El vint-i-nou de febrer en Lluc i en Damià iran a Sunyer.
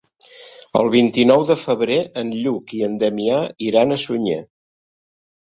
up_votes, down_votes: 2, 0